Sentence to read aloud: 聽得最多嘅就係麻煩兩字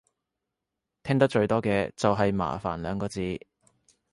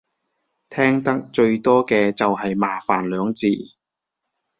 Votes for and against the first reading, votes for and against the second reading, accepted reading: 0, 2, 2, 0, second